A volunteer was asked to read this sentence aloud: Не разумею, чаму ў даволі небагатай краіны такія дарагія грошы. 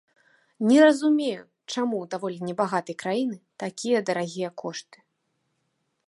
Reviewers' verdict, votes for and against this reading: rejected, 0, 2